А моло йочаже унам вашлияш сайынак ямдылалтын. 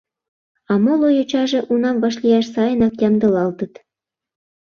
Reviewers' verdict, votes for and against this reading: rejected, 1, 2